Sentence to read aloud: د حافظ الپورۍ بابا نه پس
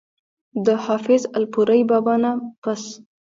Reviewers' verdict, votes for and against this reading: rejected, 1, 2